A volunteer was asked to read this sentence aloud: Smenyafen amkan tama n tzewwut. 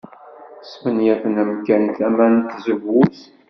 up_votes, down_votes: 1, 2